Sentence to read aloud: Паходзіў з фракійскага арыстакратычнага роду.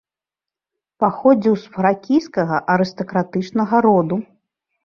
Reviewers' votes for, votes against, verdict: 2, 0, accepted